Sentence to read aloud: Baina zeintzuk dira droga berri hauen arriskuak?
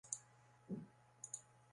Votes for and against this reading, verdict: 0, 2, rejected